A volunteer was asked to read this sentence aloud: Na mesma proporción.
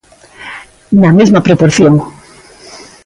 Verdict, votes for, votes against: accepted, 2, 0